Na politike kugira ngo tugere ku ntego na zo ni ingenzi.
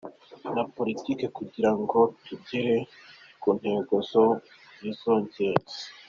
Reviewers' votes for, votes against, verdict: 1, 2, rejected